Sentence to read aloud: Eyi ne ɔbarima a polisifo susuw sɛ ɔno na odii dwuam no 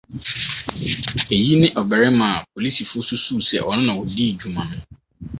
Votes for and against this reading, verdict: 2, 2, rejected